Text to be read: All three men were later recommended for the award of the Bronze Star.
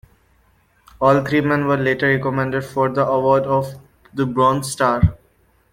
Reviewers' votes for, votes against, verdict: 2, 1, accepted